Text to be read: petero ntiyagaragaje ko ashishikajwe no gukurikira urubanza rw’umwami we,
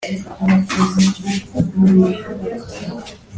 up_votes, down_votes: 1, 2